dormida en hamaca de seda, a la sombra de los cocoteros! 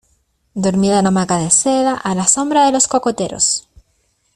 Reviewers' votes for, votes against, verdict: 2, 0, accepted